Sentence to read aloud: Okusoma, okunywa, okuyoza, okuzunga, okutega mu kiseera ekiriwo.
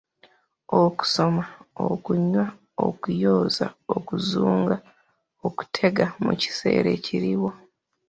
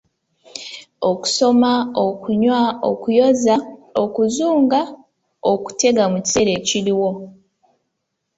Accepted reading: second